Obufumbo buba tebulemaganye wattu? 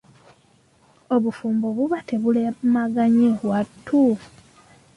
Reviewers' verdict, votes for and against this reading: accepted, 2, 1